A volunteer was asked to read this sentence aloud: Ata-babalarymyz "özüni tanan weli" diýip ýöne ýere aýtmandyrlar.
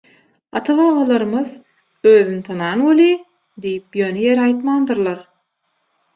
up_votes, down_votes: 6, 0